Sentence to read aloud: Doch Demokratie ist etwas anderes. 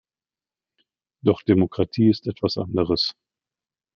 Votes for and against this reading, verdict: 2, 0, accepted